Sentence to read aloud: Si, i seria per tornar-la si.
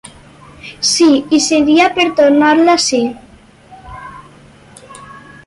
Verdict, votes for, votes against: accepted, 4, 0